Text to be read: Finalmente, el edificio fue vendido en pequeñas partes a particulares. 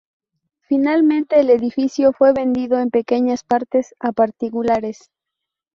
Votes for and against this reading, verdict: 2, 0, accepted